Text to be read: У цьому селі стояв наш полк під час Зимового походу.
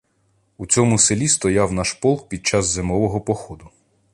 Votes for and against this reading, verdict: 1, 2, rejected